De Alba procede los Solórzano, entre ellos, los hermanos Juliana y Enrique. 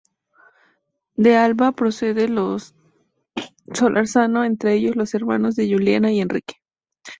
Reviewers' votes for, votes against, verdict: 2, 0, accepted